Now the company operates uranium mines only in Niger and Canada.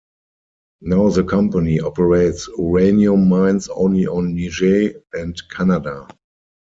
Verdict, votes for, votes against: rejected, 0, 4